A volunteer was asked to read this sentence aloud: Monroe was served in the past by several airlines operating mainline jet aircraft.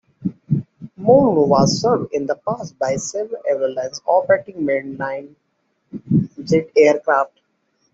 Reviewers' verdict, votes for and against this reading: rejected, 0, 2